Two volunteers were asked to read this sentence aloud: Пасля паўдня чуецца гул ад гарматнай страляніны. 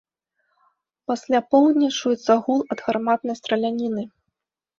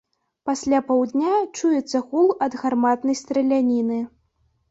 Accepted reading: second